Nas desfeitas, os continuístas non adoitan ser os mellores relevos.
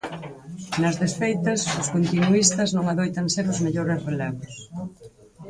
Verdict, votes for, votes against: rejected, 2, 4